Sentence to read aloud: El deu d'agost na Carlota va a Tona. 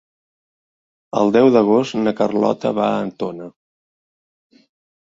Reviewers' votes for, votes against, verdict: 1, 2, rejected